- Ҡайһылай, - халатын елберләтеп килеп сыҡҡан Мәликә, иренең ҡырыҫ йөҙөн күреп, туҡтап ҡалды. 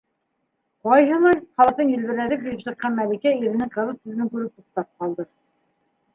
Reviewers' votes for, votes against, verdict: 1, 2, rejected